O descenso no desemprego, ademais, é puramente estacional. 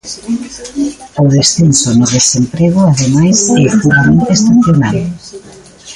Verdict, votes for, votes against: accepted, 3, 2